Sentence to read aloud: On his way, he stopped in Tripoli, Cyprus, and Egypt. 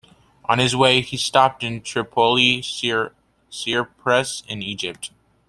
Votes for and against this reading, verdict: 0, 2, rejected